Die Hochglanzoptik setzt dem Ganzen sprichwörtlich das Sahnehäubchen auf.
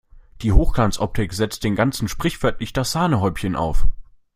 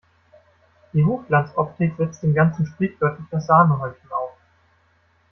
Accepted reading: second